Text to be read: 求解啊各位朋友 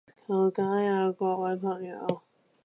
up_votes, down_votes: 0, 2